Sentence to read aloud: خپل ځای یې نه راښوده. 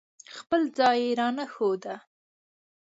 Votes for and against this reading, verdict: 1, 2, rejected